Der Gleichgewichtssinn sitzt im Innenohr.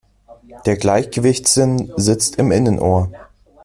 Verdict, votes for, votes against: accepted, 2, 0